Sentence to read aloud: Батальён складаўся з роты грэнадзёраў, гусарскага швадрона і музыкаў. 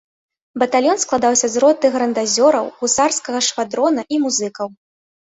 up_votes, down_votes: 0, 2